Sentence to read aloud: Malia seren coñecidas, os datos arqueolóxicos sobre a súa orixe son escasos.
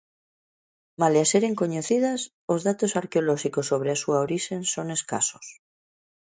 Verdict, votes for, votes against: rejected, 1, 2